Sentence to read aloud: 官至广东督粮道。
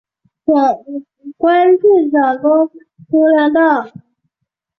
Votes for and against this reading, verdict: 0, 2, rejected